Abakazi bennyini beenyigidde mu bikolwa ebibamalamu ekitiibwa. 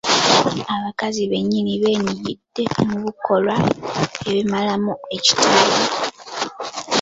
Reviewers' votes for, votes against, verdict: 0, 2, rejected